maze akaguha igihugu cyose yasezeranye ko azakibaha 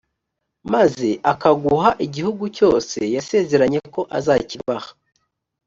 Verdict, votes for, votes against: accepted, 2, 0